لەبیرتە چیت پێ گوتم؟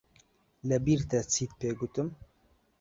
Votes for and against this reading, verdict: 2, 0, accepted